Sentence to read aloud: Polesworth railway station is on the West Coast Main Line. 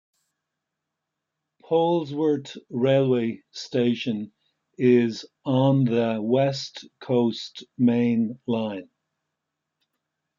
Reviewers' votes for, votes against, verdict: 1, 2, rejected